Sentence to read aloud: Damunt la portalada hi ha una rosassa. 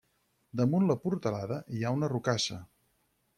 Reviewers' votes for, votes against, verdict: 2, 4, rejected